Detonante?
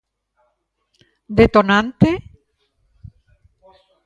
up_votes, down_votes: 3, 0